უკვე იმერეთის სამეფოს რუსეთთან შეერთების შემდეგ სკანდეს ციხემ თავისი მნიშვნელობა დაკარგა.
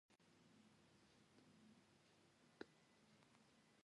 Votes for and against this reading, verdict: 1, 2, rejected